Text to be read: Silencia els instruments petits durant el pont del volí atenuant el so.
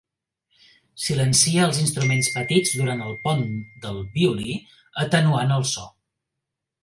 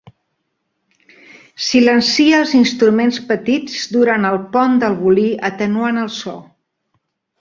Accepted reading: second